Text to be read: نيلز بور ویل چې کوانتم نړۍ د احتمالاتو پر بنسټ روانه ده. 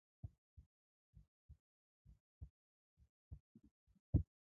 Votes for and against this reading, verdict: 2, 6, rejected